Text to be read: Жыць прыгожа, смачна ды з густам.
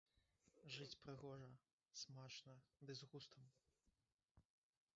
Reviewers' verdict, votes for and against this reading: rejected, 1, 2